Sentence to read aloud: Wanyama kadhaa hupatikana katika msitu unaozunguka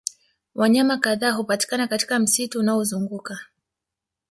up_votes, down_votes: 1, 2